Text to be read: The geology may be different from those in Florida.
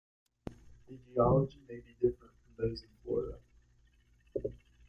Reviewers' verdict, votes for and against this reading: rejected, 0, 3